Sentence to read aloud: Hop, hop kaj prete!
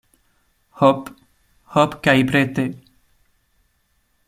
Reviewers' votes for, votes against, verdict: 2, 0, accepted